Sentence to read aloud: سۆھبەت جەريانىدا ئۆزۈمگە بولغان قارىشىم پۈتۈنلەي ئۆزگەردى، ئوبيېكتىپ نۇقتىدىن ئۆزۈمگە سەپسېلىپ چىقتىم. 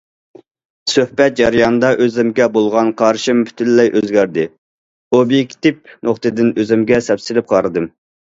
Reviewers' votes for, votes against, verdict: 0, 2, rejected